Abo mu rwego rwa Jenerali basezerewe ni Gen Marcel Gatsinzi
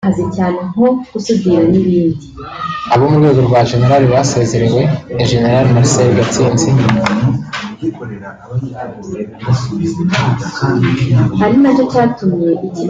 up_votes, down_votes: 1, 2